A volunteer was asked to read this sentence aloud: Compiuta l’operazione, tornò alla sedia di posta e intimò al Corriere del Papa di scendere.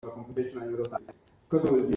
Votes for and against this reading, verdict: 0, 2, rejected